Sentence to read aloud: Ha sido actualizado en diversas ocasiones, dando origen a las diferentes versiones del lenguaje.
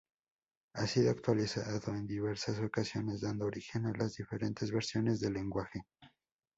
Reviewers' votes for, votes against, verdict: 0, 2, rejected